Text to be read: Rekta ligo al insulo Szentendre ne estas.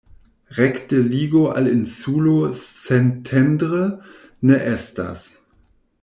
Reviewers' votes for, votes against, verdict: 0, 2, rejected